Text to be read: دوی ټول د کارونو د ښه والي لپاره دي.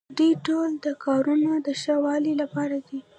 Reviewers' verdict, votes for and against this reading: rejected, 1, 2